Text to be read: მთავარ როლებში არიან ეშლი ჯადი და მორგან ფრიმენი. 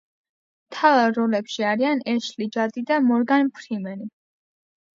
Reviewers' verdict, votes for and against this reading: rejected, 1, 2